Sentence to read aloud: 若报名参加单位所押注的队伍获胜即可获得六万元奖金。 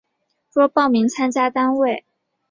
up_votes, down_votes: 1, 2